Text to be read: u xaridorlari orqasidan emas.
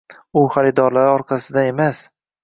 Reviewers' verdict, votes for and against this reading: rejected, 0, 2